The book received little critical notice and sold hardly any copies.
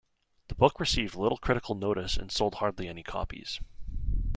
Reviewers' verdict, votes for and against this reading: accepted, 2, 0